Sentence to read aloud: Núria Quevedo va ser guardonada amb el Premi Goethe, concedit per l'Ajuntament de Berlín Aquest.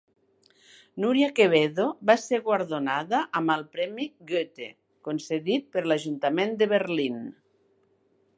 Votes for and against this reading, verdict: 1, 2, rejected